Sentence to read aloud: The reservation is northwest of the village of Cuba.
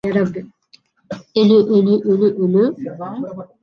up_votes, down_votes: 0, 2